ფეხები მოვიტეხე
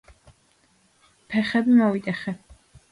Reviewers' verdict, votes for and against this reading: accepted, 2, 0